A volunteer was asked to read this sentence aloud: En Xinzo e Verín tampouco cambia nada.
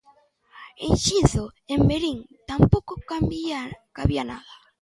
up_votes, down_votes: 0, 2